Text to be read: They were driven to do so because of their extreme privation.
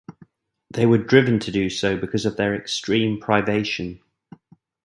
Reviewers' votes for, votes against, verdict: 2, 0, accepted